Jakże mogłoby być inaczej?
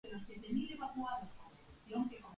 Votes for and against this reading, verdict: 0, 2, rejected